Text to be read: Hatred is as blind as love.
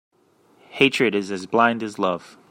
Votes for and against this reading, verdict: 2, 1, accepted